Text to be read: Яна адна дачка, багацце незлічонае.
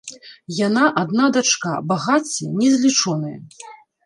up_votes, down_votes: 1, 2